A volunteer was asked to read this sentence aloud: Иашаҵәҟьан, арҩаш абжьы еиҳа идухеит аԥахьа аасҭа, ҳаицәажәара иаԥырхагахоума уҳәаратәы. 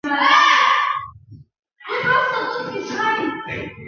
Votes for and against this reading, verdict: 0, 2, rejected